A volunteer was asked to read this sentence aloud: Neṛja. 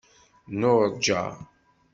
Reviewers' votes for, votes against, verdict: 1, 2, rejected